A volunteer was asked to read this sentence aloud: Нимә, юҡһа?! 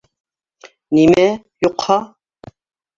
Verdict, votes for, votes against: rejected, 1, 2